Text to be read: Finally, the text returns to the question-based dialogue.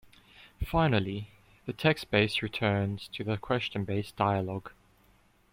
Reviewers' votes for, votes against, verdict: 0, 2, rejected